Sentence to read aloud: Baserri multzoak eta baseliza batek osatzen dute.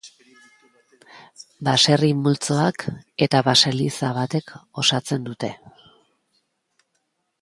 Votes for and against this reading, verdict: 4, 1, accepted